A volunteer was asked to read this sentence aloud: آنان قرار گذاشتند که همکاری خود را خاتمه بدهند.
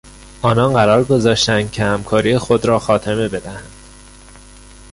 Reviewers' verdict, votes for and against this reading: rejected, 1, 2